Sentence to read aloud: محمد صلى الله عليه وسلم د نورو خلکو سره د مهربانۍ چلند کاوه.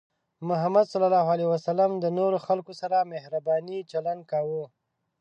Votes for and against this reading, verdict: 0, 2, rejected